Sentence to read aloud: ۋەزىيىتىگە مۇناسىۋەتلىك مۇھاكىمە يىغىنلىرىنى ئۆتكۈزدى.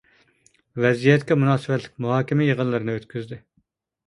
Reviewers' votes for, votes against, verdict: 0, 2, rejected